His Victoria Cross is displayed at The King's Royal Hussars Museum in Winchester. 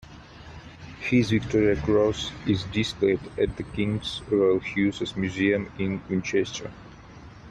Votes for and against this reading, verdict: 2, 1, accepted